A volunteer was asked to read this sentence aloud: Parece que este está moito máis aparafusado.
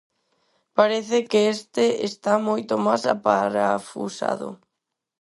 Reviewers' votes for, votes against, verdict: 4, 0, accepted